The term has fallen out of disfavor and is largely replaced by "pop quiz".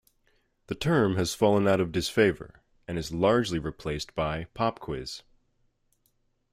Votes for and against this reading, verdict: 2, 0, accepted